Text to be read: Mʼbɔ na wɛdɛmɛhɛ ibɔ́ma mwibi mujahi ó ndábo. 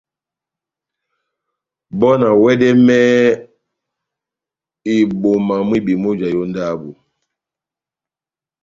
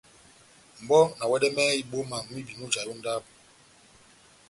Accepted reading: second